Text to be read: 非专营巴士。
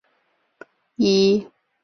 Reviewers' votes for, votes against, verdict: 0, 3, rejected